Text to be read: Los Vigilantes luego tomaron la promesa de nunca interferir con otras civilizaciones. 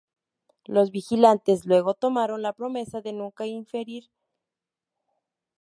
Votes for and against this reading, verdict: 4, 6, rejected